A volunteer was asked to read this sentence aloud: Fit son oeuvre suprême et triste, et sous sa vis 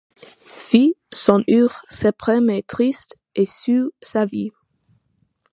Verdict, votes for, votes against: accepted, 2, 1